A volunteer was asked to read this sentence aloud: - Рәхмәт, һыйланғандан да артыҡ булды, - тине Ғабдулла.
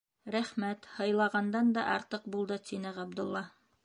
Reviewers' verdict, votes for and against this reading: rejected, 1, 2